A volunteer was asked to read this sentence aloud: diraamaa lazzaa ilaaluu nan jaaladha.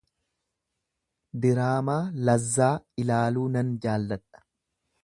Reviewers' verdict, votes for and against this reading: rejected, 1, 2